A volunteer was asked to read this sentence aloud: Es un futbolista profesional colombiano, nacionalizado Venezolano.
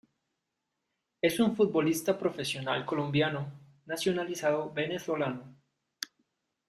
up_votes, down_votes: 2, 0